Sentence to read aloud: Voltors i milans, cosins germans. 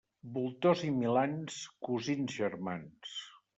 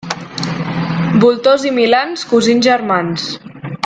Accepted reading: first